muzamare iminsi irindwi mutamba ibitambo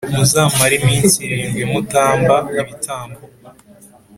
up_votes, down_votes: 3, 0